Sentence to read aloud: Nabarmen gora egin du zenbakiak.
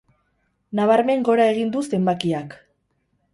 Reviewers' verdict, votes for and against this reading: rejected, 2, 2